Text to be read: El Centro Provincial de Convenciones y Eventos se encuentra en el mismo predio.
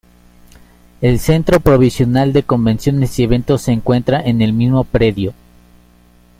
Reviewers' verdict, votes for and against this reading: rejected, 0, 2